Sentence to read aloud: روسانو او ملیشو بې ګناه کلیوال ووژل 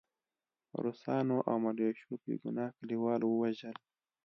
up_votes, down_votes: 2, 0